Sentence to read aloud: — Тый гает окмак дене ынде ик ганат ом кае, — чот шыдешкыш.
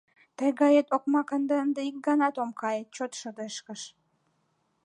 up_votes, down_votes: 2, 1